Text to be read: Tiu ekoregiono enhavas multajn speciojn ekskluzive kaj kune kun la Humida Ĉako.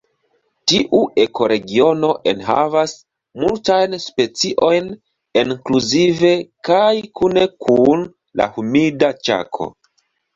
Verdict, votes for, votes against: accepted, 2, 0